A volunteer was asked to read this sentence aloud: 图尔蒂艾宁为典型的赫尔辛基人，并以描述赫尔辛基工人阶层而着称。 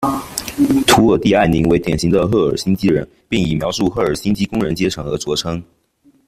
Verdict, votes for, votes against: rejected, 2, 3